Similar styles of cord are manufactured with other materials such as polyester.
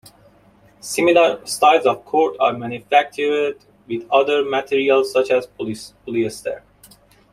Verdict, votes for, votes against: rejected, 0, 2